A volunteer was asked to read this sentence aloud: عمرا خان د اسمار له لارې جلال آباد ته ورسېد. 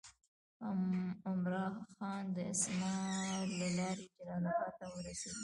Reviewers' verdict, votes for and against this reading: rejected, 1, 2